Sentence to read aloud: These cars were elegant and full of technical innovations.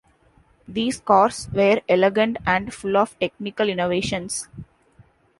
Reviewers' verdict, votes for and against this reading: accepted, 2, 1